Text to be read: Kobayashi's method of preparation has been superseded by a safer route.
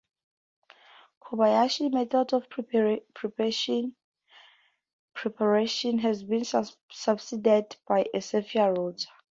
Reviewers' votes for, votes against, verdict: 0, 2, rejected